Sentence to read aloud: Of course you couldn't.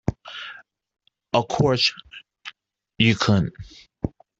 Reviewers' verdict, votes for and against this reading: rejected, 1, 2